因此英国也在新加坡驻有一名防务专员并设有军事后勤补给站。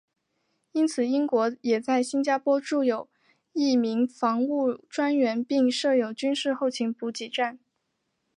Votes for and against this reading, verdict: 4, 0, accepted